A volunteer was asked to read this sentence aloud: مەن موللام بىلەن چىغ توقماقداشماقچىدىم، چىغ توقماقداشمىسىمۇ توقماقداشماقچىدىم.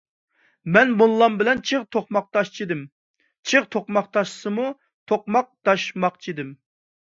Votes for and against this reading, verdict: 1, 2, rejected